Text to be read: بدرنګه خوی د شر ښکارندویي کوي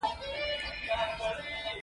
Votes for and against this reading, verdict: 2, 1, accepted